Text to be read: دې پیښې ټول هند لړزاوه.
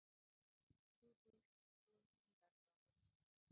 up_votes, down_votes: 0, 2